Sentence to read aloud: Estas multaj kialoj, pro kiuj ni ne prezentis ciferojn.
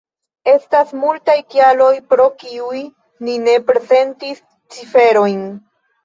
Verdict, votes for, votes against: rejected, 0, 2